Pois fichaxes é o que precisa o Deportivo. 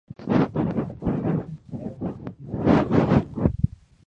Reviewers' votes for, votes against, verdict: 0, 2, rejected